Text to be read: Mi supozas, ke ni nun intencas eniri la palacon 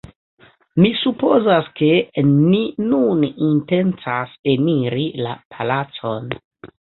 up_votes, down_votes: 2, 0